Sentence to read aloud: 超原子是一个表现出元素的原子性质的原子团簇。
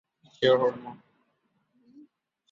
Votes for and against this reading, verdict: 0, 5, rejected